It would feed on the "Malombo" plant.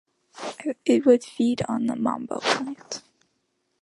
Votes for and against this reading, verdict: 0, 2, rejected